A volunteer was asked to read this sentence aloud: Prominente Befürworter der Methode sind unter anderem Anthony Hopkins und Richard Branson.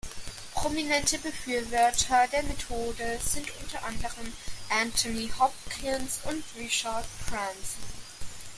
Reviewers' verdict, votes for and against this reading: rejected, 0, 2